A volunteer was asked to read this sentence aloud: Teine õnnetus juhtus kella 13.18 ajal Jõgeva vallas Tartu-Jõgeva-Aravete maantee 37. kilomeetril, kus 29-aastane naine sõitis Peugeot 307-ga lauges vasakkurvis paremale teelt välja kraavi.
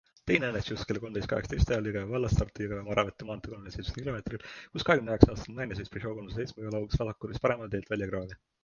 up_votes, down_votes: 0, 2